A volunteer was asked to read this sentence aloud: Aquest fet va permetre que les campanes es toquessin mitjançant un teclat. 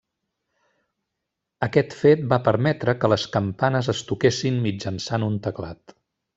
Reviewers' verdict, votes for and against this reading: rejected, 1, 2